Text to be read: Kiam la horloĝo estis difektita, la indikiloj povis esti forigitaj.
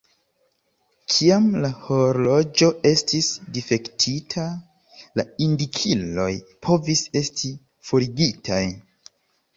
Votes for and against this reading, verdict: 1, 2, rejected